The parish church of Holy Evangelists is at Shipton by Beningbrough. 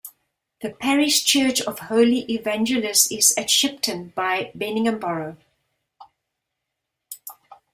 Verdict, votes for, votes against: accepted, 2, 0